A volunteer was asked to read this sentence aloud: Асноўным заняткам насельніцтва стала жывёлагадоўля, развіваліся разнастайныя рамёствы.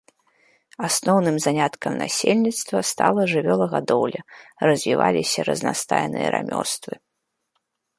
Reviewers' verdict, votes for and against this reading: accepted, 2, 0